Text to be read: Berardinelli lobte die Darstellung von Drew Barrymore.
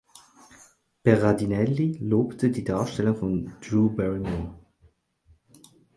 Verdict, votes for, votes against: accepted, 4, 0